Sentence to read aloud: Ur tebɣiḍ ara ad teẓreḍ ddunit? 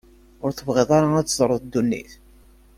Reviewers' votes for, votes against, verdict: 2, 0, accepted